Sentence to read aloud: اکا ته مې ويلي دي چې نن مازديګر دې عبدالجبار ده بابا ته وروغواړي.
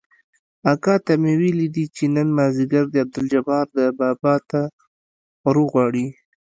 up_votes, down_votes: 2, 0